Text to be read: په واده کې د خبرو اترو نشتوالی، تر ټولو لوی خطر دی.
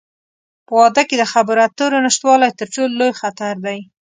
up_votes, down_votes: 2, 0